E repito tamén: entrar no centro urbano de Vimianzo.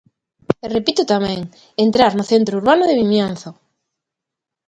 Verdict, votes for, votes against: accepted, 3, 0